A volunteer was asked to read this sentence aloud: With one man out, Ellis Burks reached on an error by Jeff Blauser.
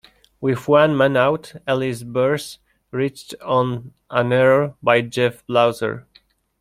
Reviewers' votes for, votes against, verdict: 2, 1, accepted